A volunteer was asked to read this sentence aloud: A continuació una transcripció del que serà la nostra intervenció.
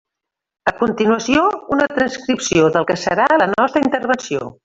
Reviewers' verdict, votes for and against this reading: rejected, 1, 2